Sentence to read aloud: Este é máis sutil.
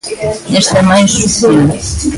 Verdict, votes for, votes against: rejected, 0, 2